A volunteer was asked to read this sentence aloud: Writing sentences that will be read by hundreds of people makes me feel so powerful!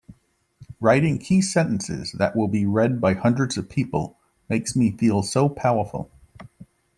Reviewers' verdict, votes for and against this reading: rejected, 0, 2